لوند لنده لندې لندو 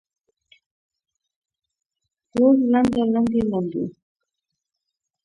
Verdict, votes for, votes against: rejected, 0, 2